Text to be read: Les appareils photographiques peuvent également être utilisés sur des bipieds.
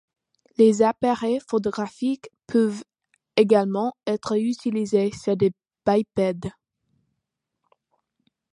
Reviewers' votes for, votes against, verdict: 0, 2, rejected